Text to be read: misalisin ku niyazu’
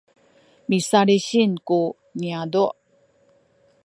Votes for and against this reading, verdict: 2, 0, accepted